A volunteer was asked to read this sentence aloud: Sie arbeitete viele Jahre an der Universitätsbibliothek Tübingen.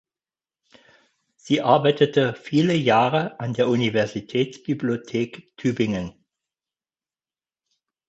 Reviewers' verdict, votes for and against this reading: accepted, 4, 0